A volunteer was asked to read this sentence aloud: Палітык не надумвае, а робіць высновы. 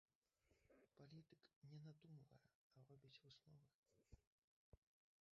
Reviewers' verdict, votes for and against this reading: rejected, 0, 3